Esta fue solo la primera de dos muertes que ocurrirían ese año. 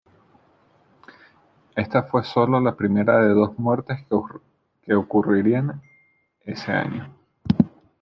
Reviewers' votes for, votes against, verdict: 0, 2, rejected